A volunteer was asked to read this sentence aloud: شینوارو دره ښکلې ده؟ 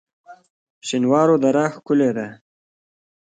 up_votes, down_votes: 1, 2